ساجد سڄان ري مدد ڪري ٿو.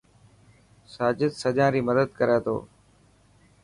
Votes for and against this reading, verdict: 4, 0, accepted